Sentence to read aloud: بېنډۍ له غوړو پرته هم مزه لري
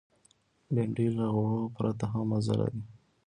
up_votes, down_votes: 2, 0